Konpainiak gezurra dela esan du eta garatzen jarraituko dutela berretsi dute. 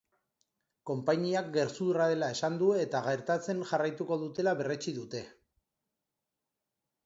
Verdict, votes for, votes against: rejected, 1, 2